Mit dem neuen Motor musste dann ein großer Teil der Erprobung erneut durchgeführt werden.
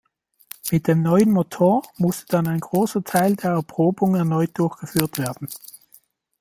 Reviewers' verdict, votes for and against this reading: rejected, 1, 2